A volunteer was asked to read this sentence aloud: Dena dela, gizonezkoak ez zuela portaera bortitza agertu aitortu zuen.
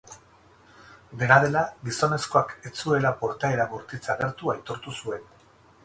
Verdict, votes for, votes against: rejected, 2, 2